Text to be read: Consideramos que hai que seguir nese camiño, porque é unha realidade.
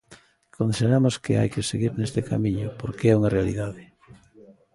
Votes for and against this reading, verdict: 1, 2, rejected